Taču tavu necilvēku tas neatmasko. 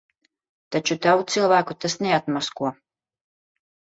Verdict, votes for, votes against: rejected, 0, 2